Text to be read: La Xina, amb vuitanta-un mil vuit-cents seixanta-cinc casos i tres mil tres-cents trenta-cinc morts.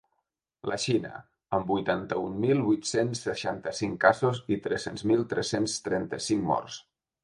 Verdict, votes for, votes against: rejected, 0, 2